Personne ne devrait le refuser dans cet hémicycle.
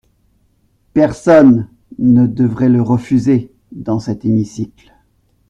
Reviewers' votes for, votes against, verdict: 2, 0, accepted